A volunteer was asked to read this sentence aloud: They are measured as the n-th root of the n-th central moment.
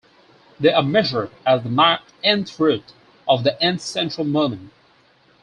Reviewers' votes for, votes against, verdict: 4, 2, accepted